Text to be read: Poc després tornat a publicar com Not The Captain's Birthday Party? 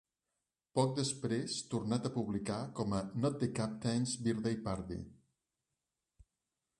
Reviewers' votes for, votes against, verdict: 1, 3, rejected